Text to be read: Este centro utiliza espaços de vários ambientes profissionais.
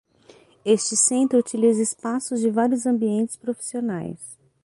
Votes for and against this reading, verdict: 6, 0, accepted